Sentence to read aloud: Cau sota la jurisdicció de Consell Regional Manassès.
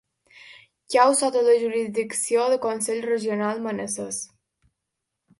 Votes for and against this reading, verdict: 2, 0, accepted